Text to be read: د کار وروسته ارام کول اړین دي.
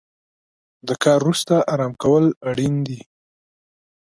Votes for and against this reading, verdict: 2, 0, accepted